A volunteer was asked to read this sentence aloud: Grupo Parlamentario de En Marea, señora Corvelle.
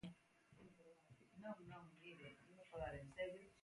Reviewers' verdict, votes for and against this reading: rejected, 0, 2